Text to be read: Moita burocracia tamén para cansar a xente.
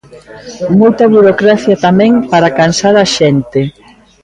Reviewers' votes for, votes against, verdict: 1, 2, rejected